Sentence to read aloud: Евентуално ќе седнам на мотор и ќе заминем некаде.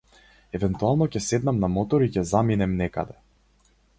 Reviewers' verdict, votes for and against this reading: rejected, 2, 2